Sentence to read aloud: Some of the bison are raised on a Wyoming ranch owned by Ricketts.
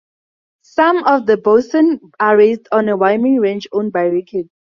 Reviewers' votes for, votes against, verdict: 0, 2, rejected